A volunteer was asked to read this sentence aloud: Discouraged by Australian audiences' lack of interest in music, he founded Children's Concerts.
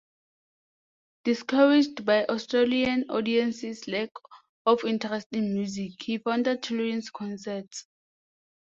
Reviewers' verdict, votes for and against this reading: accepted, 2, 0